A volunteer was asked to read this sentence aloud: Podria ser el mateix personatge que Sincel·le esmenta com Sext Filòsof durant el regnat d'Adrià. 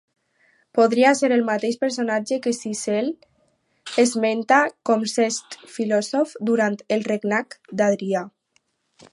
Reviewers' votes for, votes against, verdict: 4, 0, accepted